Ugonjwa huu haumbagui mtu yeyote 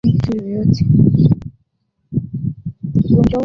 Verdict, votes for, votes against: rejected, 1, 3